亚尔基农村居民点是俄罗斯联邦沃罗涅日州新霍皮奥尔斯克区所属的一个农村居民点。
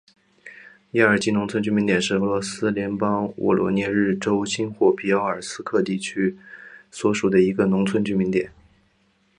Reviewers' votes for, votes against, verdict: 7, 1, accepted